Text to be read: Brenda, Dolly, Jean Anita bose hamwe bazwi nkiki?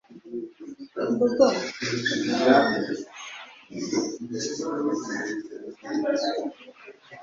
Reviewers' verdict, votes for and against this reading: rejected, 1, 2